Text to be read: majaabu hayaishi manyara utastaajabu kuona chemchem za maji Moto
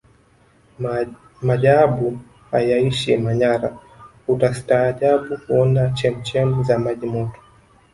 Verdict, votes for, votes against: rejected, 1, 2